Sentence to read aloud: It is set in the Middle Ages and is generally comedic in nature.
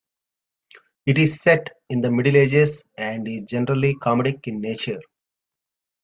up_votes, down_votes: 0, 2